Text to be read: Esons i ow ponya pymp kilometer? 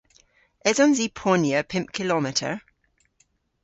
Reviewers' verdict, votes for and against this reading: rejected, 1, 2